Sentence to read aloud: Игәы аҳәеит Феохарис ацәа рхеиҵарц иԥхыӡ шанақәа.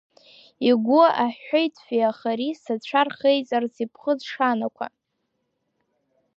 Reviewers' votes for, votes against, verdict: 2, 0, accepted